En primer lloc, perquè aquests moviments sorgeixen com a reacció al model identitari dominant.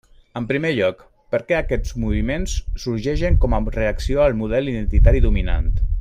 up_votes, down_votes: 1, 2